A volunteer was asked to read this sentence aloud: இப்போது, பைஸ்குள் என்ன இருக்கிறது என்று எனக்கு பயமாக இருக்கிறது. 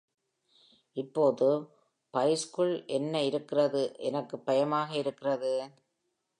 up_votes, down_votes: 1, 2